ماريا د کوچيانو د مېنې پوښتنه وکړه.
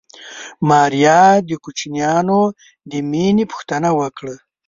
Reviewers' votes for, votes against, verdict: 0, 2, rejected